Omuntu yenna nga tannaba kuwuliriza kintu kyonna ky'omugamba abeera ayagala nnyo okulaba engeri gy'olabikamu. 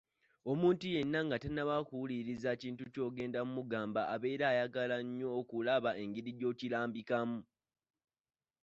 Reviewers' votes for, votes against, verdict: 0, 2, rejected